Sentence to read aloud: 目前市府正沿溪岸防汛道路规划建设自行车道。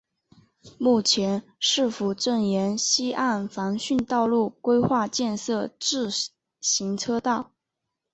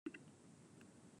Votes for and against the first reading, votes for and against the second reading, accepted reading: 2, 0, 0, 2, first